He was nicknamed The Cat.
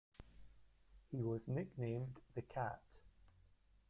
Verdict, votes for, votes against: accepted, 2, 1